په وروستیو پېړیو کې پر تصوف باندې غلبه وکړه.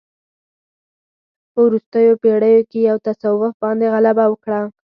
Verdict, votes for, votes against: rejected, 2, 4